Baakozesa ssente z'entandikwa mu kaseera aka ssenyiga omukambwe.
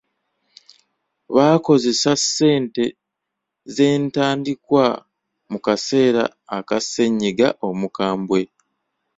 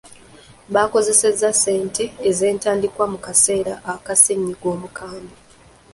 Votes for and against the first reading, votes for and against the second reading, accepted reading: 2, 0, 0, 2, first